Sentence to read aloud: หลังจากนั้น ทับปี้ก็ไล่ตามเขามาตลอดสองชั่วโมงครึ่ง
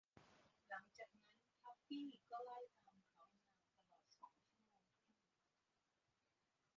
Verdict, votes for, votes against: rejected, 0, 2